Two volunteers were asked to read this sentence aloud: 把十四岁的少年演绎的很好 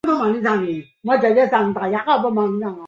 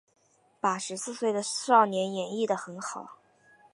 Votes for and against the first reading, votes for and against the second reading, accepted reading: 0, 3, 2, 0, second